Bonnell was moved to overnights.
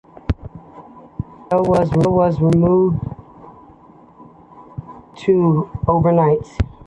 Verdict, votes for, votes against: accepted, 2, 0